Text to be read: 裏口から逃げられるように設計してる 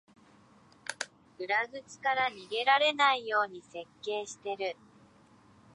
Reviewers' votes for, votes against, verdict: 0, 2, rejected